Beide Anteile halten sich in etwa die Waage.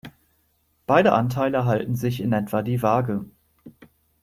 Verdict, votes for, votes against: accepted, 2, 0